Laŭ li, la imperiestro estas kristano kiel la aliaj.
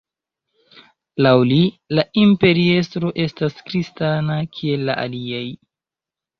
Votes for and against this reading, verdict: 1, 2, rejected